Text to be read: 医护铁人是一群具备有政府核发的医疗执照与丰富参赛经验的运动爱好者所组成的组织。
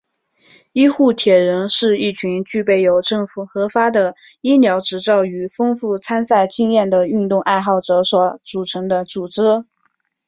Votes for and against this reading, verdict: 3, 1, accepted